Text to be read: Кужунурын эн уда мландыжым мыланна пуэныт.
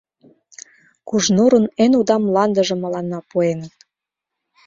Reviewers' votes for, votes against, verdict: 0, 2, rejected